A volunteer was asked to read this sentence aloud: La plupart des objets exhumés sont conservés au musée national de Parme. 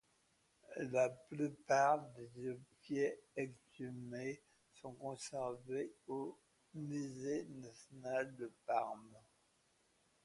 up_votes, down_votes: 3, 1